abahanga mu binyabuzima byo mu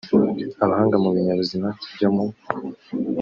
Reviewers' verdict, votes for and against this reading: accepted, 2, 0